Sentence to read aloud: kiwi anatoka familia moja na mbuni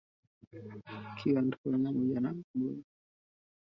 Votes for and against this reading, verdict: 1, 2, rejected